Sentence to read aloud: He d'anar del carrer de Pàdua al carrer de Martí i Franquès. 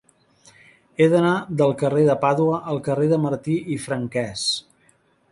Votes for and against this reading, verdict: 4, 0, accepted